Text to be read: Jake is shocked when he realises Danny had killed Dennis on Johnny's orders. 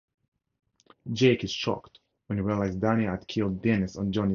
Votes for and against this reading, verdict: 2, 4, rejected